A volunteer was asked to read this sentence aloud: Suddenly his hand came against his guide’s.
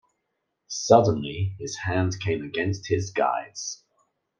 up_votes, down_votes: 2, 0